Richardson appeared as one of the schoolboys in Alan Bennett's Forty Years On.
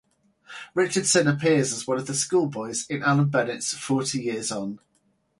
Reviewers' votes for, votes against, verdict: 4, 0, accepted